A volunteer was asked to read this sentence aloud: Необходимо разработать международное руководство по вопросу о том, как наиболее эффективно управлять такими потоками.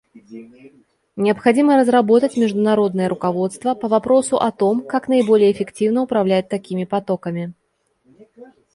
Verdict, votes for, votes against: rejected, 1, 2